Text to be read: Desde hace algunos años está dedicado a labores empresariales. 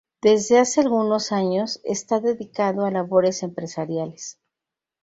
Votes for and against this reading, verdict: 2, 0, accepted